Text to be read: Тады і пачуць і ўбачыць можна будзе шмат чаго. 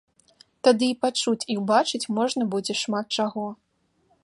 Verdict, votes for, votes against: accepted, 2, 0